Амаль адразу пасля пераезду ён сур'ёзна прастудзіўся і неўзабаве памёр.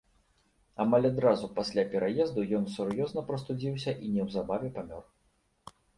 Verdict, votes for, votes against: accepted, 2, 0